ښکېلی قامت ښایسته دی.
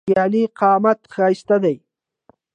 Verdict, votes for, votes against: rejected, 1, 2